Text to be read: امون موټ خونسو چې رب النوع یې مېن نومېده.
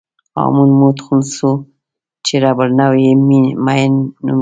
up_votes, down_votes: 0, 2